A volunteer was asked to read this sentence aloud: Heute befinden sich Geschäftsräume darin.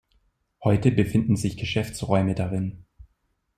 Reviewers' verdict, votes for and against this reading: accepted, 2, 0